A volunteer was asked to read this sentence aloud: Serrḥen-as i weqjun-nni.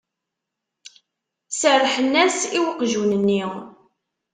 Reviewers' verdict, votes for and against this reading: accepted, 2, 0